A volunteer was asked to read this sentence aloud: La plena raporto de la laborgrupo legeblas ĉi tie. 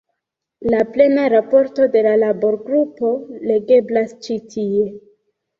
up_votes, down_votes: 2, 1